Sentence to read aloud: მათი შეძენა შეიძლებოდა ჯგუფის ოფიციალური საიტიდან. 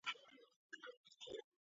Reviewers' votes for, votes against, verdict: 0, 4, rejected